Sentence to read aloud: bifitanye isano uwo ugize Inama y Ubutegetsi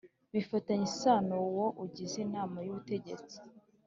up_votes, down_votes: 3, 1